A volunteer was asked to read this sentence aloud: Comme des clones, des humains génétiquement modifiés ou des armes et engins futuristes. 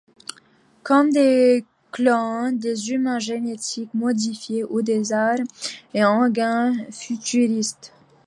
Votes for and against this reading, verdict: 1, 2, rejected